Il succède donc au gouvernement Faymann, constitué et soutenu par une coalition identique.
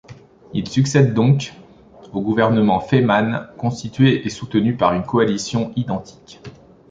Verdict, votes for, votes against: accepted, 3, 0